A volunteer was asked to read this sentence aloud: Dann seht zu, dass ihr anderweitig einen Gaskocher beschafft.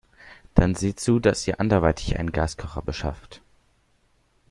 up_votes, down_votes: 2, 0